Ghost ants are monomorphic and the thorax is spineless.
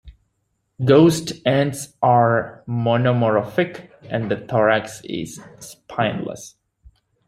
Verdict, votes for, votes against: accepted, 2, 0